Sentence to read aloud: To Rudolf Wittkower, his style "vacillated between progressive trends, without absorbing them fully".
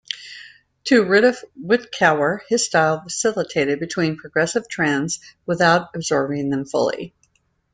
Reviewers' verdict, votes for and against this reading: rejected, 1, 2